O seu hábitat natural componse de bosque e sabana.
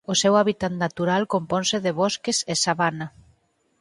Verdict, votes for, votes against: rejected, 2, 4